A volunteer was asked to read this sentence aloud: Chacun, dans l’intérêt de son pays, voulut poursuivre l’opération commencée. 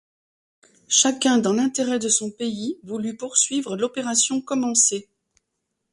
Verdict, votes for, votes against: accepted, 2, 0